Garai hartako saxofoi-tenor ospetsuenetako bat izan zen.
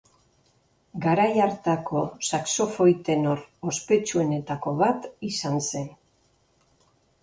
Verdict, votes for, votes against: accepted, 2, 0